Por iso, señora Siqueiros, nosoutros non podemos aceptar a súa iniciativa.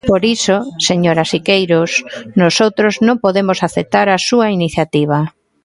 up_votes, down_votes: 1, 2